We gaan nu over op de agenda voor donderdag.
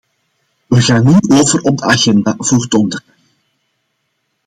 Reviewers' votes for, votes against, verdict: 2, 0, accepted